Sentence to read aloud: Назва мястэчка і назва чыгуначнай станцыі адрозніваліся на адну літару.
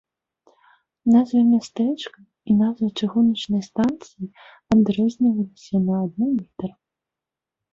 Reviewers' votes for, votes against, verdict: 2, 0, accepted